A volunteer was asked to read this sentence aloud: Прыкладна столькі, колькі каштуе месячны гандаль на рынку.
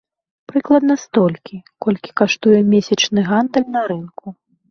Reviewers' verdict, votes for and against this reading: accepted, 3, 0